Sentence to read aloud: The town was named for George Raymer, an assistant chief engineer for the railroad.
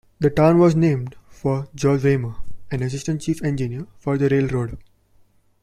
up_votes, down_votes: 2, 0